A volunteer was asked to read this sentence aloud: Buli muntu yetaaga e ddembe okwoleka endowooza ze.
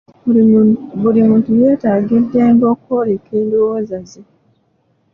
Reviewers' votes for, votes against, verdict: 2, 1, accepted